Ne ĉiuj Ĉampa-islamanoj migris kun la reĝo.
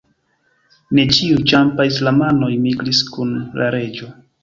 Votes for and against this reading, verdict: 2, 1, accepted